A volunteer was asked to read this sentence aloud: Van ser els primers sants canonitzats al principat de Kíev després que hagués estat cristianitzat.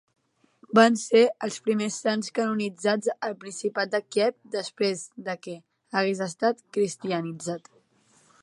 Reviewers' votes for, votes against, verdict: 2, 1, accepted